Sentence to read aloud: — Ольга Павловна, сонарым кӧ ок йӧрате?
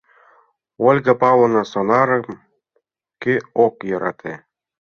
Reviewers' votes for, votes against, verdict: 3, 0, accepted